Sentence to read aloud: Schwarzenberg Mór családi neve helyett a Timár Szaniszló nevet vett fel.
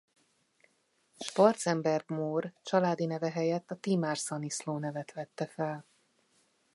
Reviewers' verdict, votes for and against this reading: rejected, 1, 2